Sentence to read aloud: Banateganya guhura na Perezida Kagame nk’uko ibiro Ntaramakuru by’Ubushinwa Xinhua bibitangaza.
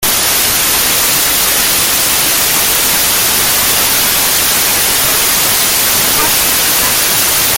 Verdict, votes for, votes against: rejected, 0, 2